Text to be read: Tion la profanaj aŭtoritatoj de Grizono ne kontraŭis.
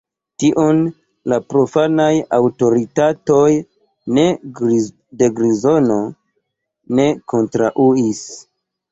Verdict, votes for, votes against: rejected, 0, 2